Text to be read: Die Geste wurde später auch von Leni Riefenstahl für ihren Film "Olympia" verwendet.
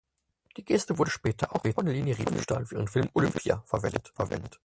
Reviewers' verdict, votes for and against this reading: rejected, 0, 4